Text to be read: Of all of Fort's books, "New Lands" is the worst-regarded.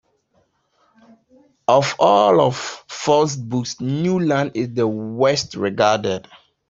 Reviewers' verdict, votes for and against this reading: accepted, 2, 0